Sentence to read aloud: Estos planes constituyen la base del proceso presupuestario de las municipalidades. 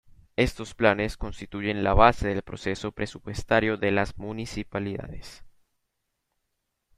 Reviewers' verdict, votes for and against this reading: accepted, 3, 1